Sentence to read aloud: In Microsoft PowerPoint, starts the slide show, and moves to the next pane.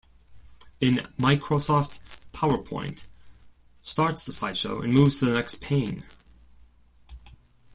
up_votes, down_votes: 1, 2